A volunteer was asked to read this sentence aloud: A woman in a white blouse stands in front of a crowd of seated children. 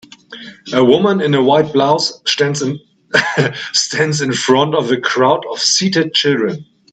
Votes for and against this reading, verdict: 1, 2, rejected